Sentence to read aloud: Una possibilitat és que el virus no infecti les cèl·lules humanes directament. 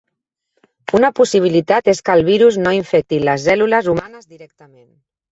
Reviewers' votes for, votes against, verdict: 1, 3, rejected